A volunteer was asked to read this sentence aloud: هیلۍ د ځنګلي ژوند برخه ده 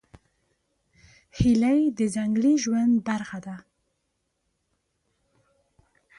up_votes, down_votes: 2, 0